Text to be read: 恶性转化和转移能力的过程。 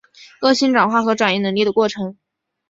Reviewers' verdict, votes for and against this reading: accepted, 5, 0